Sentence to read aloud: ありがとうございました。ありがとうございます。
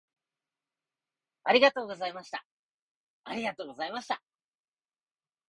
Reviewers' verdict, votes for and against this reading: rejected, 0, 2